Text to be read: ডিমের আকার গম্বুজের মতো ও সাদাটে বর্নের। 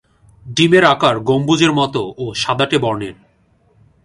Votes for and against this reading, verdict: 2, 0, accepted